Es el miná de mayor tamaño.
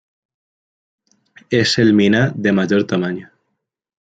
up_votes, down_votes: 2, 0